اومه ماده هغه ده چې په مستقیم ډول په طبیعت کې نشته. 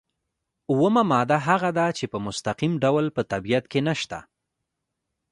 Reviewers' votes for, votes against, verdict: 0, 2, rejected